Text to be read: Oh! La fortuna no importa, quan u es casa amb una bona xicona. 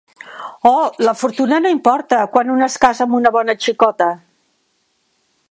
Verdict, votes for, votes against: rejected, 1, 2